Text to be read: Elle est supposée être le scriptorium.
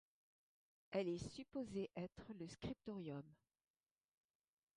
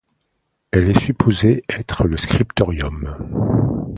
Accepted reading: second